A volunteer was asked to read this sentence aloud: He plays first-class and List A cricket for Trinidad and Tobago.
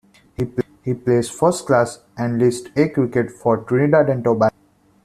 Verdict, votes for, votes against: rejected, 0, 2